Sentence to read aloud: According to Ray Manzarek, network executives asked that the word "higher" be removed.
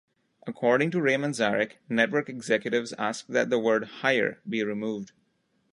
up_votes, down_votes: 2, 0